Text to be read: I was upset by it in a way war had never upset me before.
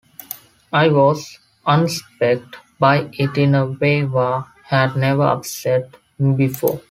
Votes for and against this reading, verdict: 0, 2, rejected